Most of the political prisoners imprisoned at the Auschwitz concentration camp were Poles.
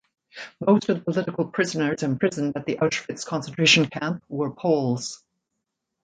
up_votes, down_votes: 2, 1